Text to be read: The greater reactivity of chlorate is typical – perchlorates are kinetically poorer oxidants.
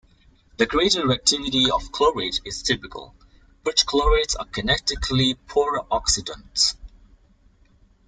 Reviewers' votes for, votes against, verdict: 2, 1, accepted